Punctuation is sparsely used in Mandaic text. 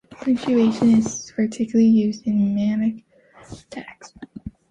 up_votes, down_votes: 0, 2